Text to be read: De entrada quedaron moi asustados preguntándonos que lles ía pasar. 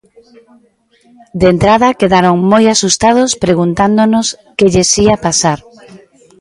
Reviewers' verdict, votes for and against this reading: accepted, 2, 0